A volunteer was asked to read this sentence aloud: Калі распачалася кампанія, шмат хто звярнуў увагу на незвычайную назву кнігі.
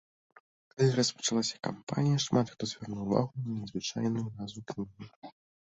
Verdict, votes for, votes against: rejected, 1, 2